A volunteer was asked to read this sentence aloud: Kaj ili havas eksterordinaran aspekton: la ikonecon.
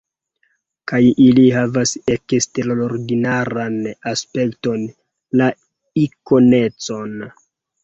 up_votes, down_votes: 0, 2